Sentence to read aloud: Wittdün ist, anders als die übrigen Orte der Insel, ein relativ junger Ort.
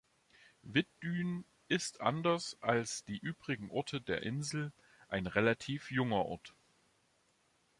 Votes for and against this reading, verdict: 2, 0, accepted